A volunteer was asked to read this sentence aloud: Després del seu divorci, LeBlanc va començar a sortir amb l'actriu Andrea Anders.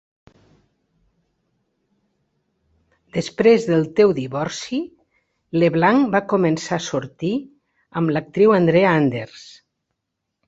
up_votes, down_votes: 1, 2